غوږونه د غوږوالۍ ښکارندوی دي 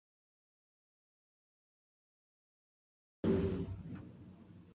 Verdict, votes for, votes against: rejected, 1, 4